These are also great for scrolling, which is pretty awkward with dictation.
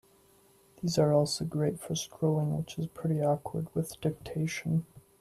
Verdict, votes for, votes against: accepted, 2, 0